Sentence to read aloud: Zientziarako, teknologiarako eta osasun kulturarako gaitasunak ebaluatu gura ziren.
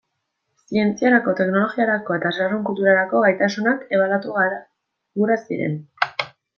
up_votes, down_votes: 1, 2